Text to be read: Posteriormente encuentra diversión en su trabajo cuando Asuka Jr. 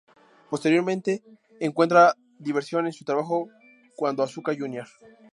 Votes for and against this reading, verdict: 2, 0, accepted